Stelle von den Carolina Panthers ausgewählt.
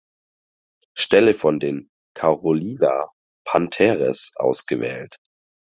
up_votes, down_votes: 2, 4